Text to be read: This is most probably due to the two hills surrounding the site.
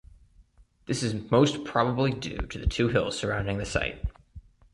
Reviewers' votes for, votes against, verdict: 2, 0, accepted